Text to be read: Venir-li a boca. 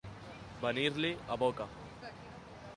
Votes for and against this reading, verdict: 2, 0, accepted